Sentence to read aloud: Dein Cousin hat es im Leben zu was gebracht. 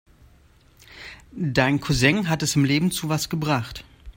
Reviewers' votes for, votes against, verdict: 2, 0, accepted